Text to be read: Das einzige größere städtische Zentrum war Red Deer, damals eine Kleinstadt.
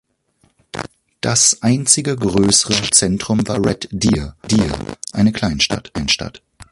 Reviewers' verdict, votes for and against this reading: rejected, 0, 2